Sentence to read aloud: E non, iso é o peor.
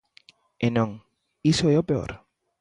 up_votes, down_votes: 3, 0